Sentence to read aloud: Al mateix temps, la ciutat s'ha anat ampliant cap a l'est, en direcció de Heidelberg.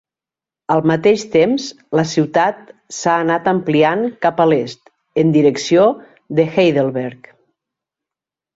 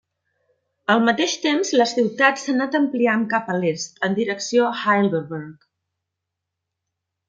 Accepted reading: first